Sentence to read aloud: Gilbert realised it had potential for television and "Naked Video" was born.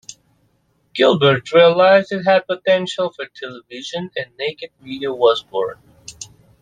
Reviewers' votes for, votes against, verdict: 2, 0, accepted